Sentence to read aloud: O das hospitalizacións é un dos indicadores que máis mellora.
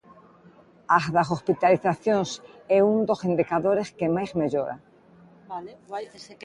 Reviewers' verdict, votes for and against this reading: rejected, 1, 2